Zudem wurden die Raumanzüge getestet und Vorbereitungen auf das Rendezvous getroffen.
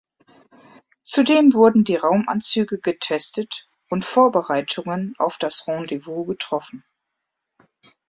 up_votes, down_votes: 4, 0